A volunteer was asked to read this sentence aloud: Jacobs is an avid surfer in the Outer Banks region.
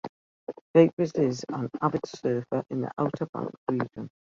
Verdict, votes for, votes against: rejected, 0, 2